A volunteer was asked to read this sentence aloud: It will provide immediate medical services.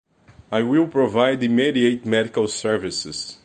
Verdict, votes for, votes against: rejected, 1, 2